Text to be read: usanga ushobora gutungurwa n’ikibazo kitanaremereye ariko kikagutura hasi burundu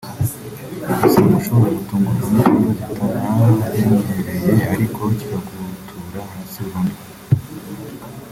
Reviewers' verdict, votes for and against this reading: rejected, 0, 2